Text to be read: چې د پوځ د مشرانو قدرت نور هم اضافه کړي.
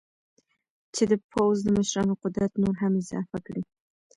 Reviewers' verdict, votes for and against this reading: rejected, 0, 2